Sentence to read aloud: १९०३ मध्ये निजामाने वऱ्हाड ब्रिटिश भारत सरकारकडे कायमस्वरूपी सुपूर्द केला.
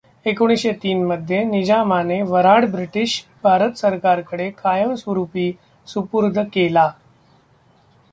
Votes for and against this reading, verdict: 0, 2, rejected